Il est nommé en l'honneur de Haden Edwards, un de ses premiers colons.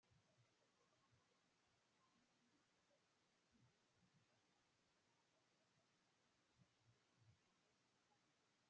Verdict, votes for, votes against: rejected, 0, 2